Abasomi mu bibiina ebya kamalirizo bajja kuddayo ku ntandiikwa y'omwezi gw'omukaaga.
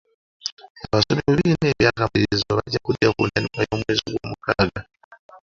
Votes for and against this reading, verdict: 0, 2, rejected